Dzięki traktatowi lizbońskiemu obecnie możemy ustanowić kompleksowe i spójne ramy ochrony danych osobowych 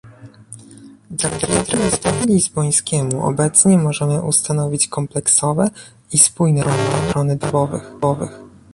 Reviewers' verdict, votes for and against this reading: rejected, 0, 2